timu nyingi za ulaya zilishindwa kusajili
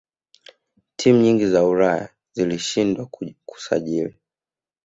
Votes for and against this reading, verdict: 2, 1, accepted